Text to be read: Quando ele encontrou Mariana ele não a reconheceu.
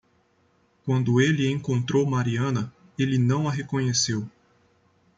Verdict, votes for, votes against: accepted, 2, 0